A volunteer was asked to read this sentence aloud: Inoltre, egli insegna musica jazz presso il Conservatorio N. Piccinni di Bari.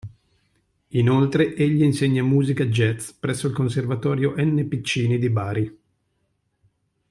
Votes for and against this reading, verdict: 2, 1, accepted